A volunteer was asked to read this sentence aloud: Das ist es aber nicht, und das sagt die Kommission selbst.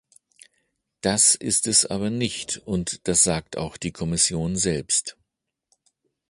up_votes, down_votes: 1, 2